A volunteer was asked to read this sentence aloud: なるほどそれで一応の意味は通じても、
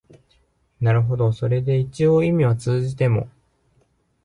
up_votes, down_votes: 1, 2